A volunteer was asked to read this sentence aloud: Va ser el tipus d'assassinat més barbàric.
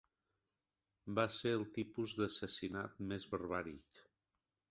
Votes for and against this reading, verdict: 2, 1, accepted